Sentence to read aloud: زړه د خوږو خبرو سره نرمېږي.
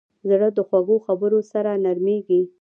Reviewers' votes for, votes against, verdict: 2, 1, accepted